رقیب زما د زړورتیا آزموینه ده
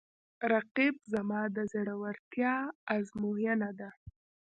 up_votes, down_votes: 1, 2